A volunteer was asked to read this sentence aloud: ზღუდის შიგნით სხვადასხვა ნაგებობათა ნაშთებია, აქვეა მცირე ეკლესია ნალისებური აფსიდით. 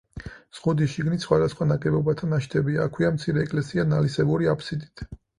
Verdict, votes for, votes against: accepted, 4, 0